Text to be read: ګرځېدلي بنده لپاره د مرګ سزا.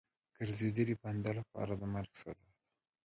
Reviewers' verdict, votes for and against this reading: rejected, 0, 2